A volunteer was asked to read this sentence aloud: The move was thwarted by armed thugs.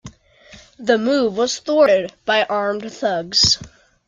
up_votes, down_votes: 2, 0